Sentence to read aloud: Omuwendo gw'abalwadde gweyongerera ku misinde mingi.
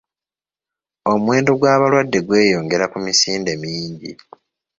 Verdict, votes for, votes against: accepted, 2, 0